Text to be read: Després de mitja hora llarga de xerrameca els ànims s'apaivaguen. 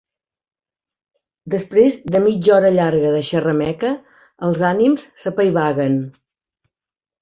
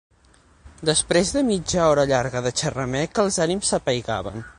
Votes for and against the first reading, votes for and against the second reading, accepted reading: 2, 0, 3, 6, first